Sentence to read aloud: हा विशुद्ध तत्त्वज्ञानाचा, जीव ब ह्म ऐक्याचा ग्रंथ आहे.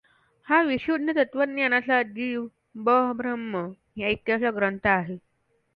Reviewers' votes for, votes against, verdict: 2, 1, accepted